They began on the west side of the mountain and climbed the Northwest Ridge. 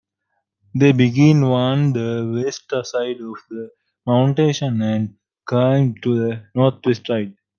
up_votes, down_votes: 0, 2